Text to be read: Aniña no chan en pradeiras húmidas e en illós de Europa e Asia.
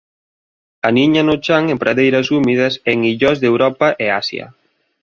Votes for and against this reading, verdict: 2, 0, accepted